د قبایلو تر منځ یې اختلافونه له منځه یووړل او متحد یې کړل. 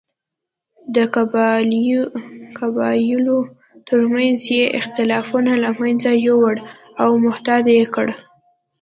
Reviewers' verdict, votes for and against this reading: accepted, 2, 1